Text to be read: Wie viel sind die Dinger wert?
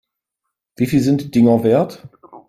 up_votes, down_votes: 2, 3